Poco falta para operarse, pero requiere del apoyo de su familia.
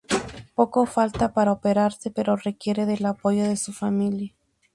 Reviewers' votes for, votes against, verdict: 4, 0, accepted